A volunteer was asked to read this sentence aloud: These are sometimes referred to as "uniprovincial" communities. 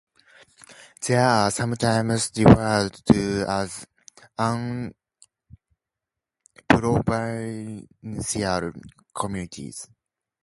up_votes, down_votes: 0, 2